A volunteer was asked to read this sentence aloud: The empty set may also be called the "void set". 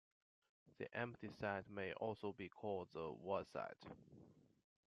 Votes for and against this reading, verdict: 0, 2, rejected